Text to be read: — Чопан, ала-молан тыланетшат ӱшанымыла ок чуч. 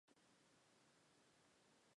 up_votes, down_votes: 0, 2